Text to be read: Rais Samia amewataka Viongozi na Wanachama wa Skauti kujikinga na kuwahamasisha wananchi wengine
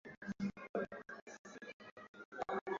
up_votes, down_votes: 0, 2